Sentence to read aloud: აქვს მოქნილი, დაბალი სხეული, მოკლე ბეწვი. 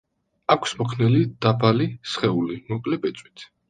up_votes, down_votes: 1, 2